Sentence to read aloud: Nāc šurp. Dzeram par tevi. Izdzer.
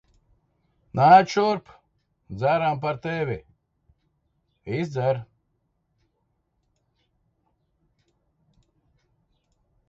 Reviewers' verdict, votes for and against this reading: accepted, 2, 0